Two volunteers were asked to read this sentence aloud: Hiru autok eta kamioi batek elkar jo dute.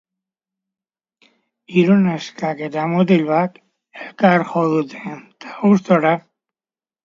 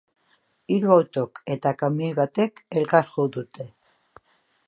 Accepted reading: second